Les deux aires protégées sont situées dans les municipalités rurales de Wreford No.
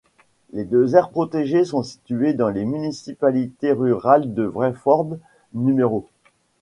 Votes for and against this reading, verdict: 2, 1, accepted